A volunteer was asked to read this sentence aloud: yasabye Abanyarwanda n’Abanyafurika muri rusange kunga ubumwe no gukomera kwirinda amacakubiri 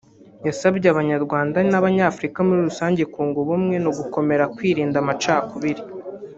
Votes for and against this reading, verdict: 1, 2, rejected